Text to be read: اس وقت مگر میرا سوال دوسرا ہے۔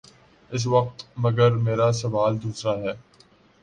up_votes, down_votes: 2, 0